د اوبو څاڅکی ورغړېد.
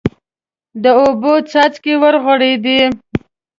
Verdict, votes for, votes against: rejected, 0, 2